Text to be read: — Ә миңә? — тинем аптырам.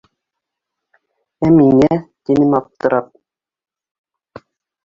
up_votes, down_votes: 1, 2